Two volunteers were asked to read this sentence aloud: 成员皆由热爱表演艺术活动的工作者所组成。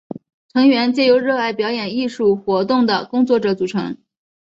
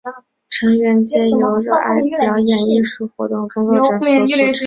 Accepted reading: first